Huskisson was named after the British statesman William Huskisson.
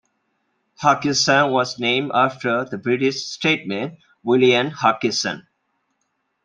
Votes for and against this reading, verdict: 2, 0, accepted